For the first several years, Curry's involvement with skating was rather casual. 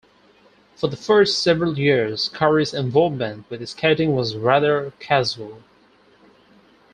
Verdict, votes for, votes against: accepted, 4, 0